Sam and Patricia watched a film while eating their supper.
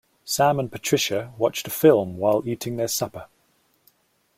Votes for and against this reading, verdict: 2, 0, accepted